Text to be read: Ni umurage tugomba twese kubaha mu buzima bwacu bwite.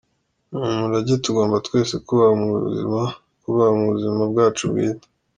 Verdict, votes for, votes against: rejected, 0, 2